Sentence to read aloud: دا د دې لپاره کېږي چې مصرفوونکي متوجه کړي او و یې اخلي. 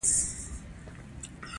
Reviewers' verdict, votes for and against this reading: rejected, 0, 2